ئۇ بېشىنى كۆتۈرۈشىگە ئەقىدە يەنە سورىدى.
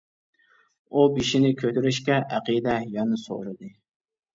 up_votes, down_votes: 0, 2